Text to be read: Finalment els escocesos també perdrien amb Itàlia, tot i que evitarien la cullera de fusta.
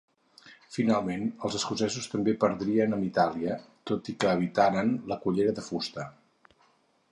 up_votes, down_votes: 2, 4